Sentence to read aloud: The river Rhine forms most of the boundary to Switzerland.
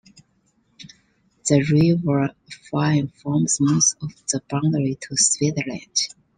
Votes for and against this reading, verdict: 1, 2, rejected